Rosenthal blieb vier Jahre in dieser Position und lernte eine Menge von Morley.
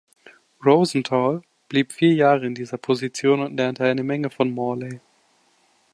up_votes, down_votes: 2, 0